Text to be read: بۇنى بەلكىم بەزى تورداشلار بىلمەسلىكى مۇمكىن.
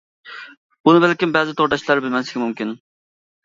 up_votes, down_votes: 2, 0